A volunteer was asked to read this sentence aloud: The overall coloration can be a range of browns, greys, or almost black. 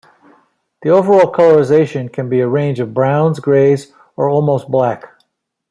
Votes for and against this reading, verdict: 0, 2, rejected